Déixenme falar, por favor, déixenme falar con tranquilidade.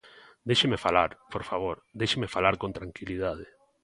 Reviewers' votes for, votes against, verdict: 1, 2, rejected